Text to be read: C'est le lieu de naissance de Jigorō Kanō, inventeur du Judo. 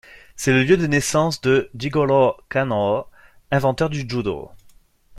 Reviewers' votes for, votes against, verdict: 2, 0, accepted